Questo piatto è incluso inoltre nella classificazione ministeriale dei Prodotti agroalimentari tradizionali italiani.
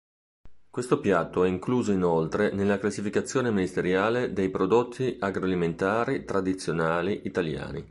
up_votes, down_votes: 3, 0